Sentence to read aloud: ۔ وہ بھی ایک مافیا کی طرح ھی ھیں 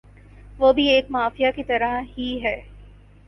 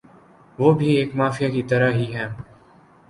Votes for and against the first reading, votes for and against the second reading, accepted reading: 2, 2, 14, 1, second